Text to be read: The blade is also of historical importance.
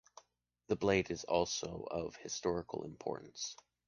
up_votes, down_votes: 2, 0